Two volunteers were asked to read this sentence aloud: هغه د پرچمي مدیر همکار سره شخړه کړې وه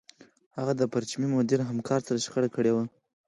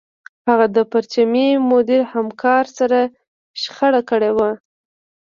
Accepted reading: first